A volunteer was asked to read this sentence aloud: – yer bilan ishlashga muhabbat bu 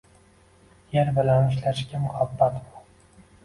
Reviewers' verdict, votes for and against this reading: accepted, 2, 0